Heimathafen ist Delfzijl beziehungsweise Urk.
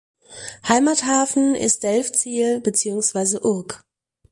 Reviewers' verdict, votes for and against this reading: accepted, 4, 0